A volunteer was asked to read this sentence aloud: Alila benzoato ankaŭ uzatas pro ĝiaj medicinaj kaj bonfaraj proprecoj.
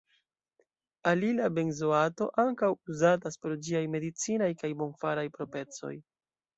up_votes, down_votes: 2, 0